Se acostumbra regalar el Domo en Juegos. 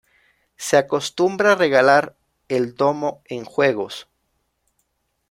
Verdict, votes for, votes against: accepted, 2, 1